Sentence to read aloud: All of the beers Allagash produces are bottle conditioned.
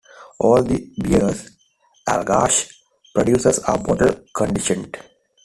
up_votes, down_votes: 2, 0